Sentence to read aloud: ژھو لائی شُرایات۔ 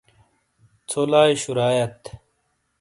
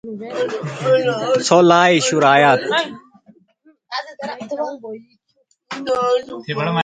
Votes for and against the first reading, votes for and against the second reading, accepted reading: 2, 0, 0, 2, first